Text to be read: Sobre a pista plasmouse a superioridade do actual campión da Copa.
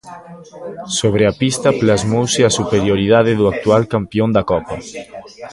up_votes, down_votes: 0, 2